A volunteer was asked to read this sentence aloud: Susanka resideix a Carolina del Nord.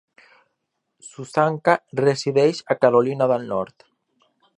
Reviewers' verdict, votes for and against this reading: accepted, 2, 0